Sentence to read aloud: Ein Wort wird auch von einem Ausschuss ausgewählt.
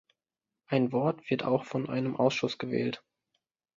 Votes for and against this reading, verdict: 1, 2, rejected